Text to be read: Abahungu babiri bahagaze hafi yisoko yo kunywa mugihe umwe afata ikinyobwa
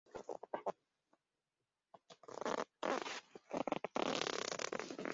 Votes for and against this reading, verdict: 0, 2, rejected